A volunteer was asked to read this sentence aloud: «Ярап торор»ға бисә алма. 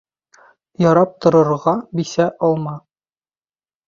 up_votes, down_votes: 2, 0